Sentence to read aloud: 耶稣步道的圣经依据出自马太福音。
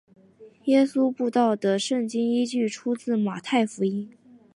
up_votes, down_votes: 2, 0